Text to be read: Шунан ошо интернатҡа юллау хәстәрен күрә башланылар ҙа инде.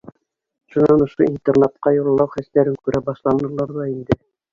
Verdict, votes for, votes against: rejected, 1, 2